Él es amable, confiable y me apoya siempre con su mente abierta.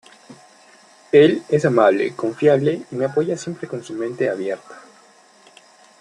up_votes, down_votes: 2, 0